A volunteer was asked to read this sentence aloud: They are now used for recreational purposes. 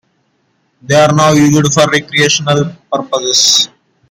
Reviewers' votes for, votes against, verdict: 0, 2, rejected